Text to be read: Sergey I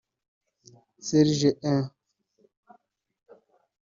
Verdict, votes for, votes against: rejected, 0, 2